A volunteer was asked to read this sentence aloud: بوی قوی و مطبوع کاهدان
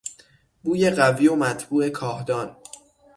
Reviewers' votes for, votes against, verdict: 6, 0, accepted